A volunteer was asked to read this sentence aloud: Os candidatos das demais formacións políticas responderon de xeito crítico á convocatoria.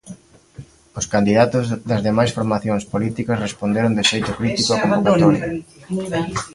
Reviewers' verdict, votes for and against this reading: rejected, 0, 3